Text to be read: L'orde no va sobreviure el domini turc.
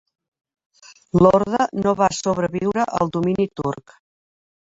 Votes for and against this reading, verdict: 3, 1, accepted